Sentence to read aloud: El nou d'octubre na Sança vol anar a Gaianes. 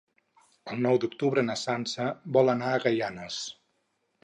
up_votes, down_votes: 6, 0